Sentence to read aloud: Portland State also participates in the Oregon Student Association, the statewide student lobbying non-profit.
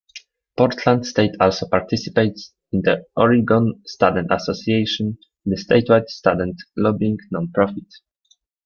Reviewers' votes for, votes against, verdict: 2, 1, accepted